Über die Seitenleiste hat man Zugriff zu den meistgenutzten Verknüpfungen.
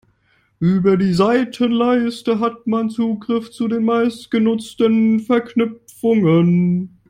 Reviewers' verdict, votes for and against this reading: rejected, 0, 2